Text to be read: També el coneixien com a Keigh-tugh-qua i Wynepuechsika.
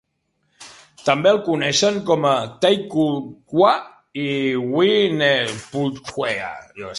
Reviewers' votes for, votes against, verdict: 0, 2, rejected